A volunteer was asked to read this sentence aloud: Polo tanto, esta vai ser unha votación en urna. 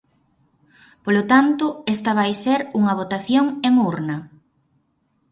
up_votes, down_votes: 4, 0